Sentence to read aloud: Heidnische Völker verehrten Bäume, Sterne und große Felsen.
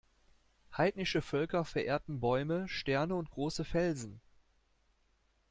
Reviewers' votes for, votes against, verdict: 2, 0, accepted